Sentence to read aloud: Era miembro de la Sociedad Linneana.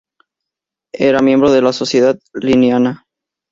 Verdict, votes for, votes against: accepted, 2, 0